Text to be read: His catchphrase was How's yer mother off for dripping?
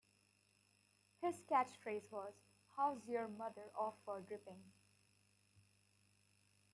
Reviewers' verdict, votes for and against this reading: accepted, 2, 1